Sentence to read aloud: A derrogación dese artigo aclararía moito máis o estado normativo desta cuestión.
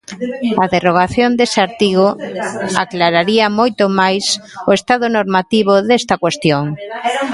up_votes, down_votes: 0, 2